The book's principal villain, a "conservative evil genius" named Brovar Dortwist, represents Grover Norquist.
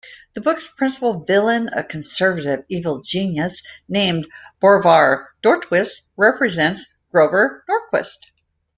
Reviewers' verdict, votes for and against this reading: rejected, 0, 2